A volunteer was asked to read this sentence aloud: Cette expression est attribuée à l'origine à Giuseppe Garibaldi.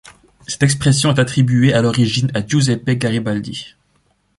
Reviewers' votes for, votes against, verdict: 0, 2, rejected